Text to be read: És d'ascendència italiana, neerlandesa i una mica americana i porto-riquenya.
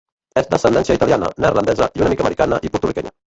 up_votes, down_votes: 0, 2